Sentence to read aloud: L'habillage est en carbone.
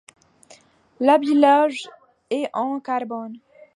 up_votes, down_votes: 2, 1